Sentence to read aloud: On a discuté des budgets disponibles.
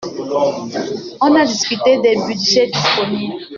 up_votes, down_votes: 2, 1